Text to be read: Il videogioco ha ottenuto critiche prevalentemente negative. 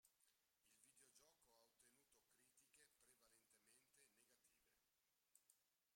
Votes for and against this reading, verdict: 0, 2, rejected